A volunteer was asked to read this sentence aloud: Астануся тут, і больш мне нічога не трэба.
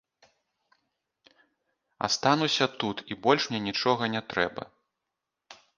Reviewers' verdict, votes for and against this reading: rejected, 1, 2